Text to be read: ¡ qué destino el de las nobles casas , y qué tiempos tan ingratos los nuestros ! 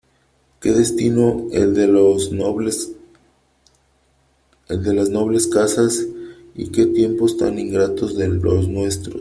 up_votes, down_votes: 1, 3